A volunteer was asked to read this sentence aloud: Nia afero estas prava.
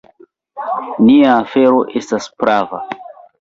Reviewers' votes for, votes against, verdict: 2, 1, accepted